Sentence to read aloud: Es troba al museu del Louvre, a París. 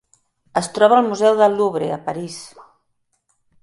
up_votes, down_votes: 2, 0